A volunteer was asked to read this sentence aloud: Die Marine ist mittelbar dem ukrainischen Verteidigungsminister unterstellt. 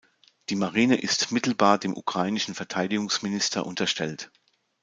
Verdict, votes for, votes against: accepted, 2, 0